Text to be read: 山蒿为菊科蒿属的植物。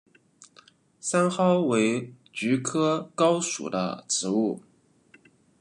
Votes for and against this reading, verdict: 0, 2, rejected